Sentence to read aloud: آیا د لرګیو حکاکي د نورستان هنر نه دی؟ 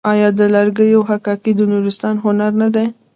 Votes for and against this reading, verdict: 0, 2, rejected